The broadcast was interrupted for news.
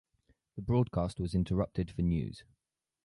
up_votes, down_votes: 4, 0